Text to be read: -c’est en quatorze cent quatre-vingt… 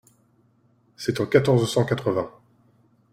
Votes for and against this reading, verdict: 2, 0, accepted